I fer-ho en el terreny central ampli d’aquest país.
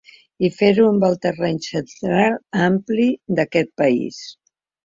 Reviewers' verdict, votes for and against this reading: rejected, 1, 2